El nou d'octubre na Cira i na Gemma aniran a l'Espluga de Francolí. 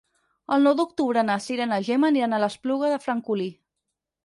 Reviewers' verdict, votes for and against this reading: accepted, 6, 0